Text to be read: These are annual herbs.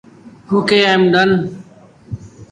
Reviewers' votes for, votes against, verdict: 0, 2, rejected